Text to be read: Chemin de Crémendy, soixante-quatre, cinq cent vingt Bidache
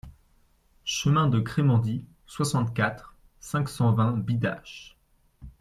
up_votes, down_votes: 2, 0